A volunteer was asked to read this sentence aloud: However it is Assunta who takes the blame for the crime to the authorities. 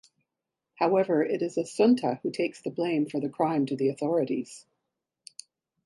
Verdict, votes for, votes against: accepted, 4, 0